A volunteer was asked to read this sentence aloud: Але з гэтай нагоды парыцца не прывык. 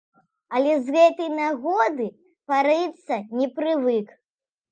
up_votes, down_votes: 1, 2